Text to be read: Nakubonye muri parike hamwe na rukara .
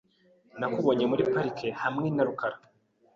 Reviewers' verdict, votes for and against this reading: accepted, 2, 0